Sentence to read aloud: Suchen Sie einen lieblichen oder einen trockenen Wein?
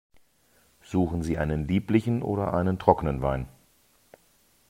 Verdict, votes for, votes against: accepted, 2, 0